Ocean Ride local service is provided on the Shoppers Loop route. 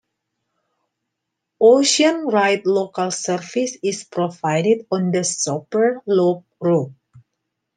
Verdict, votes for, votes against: rejected, 0, 2